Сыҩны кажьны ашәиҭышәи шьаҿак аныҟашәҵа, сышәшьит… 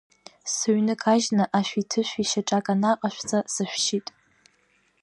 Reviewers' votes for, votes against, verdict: 1, 2, rejected